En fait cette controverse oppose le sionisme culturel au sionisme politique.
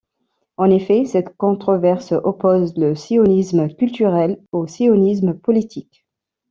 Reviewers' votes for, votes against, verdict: 0, 2, rejected